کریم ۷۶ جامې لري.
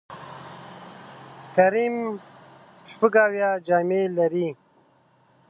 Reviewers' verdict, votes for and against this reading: rejected, 0, 2